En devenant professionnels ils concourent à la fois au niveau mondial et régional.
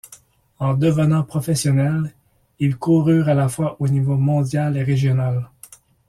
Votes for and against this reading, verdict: 1, 2, rejected